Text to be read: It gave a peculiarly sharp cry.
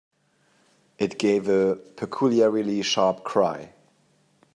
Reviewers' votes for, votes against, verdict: 2, 0, accepted